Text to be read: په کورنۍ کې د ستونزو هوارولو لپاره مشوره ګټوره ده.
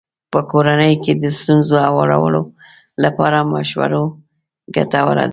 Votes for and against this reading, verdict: 1, 2, rejected